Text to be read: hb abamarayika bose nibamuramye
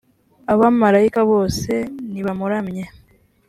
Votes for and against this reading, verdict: 2, 0, accepted